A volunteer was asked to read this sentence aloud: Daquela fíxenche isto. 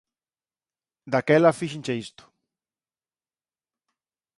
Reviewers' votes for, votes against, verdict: 54, 0, accepted